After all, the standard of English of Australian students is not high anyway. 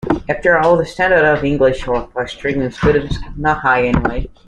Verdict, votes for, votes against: rejected, 0, 2